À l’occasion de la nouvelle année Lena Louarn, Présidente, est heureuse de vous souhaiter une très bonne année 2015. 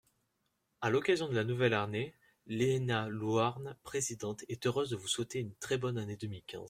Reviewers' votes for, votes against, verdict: 0, 2, rejected